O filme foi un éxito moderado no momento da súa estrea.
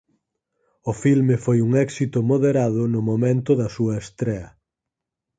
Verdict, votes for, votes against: accepted, 4, 0